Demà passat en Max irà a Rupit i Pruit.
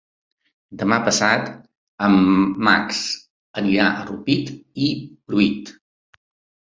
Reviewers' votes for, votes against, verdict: 0, 2, rejected